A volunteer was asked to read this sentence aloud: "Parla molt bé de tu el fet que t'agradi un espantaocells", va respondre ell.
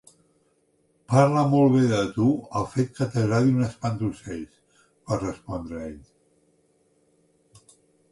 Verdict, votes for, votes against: accepted, 2, 0